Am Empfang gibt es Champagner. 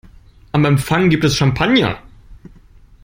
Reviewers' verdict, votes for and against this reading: accepted, 2, 0